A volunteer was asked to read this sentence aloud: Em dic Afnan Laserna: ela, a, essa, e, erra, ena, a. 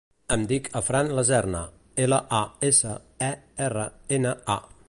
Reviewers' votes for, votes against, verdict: 1, 2, rejected